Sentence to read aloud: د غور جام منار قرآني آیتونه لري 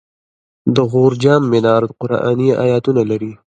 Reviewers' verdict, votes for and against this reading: rejected, 0, 2